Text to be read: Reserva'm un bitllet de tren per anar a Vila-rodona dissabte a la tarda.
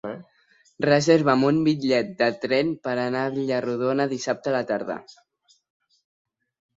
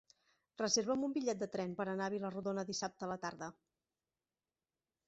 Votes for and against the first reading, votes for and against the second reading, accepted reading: 1, 2, 2, 0, second